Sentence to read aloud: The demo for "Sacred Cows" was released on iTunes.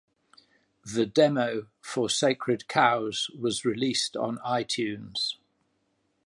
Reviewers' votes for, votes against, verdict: 2, 0, accepted